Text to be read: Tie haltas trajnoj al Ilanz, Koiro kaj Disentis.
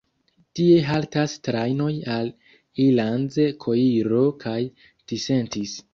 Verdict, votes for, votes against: rejected, 1, 2